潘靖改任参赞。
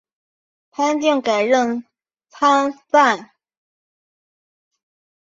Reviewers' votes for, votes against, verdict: 1, 2, rejected